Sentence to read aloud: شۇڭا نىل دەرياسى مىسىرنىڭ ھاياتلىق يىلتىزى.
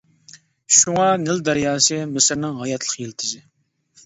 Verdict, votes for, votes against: accepted, 2, 0